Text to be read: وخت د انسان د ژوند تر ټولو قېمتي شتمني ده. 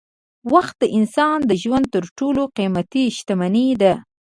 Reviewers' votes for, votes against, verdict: 2, 0, accepted